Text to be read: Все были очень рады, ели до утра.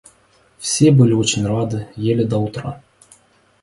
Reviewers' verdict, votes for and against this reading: accepted, 3, 0